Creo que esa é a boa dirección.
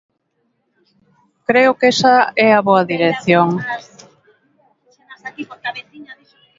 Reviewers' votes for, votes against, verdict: 1, 2, rejected